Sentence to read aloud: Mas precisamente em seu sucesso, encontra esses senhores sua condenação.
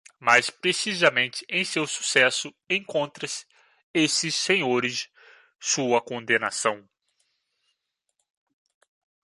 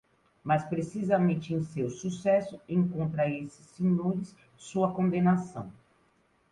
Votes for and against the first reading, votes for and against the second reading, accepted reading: 1, 2, 2, 0, second